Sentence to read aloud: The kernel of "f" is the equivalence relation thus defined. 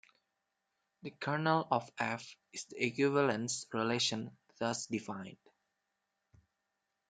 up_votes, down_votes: 2, 0